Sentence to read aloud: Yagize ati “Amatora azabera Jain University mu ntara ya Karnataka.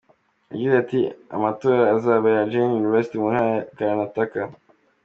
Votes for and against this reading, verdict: 2, 0, accepted